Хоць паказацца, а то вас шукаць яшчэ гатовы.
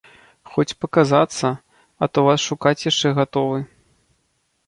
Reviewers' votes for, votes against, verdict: 2, 0, accepted